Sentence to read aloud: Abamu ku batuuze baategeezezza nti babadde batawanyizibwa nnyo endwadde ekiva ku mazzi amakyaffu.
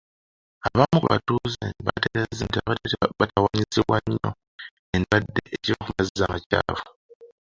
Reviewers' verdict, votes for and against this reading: rejected, 0, 2